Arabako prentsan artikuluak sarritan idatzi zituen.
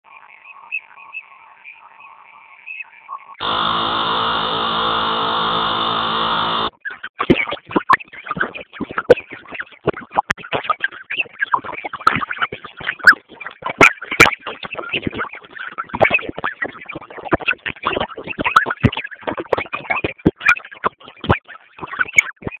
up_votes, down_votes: 0, 6